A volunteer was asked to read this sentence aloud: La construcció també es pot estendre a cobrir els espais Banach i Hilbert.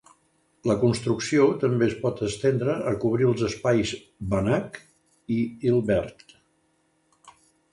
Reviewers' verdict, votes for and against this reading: accepted, 2, 0